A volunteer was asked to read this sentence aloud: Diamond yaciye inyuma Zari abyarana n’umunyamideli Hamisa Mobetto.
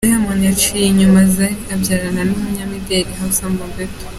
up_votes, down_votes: 2, 0